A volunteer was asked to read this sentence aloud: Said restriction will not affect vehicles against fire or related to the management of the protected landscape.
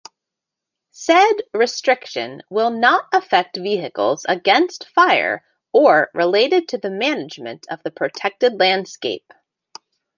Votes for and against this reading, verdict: 2, 1, accepted